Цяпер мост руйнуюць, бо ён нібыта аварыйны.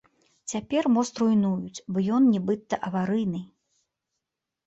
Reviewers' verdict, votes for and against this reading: accepted, 2, 1